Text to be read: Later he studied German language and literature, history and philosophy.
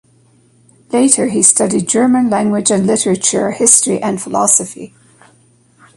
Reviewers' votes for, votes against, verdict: 2, 0, accepted